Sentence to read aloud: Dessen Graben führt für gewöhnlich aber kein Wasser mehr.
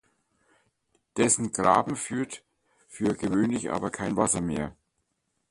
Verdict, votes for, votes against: accepted, 2, 0